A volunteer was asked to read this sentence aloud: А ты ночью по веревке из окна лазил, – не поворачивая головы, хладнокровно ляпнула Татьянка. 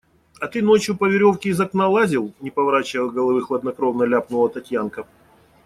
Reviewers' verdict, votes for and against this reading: accepted, 2, 0